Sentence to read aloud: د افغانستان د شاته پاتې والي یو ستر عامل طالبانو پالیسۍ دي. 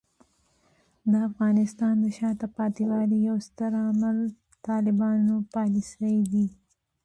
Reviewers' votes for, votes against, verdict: 1, 2, rejected